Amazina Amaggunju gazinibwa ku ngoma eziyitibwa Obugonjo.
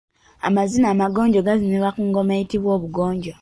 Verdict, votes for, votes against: rejected, 1, 2